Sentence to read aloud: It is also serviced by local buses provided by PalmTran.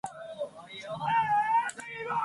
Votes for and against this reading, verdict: 0, 2, rejected